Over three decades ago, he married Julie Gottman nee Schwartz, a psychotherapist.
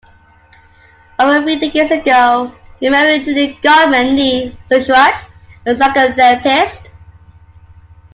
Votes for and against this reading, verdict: 2, 0, accepted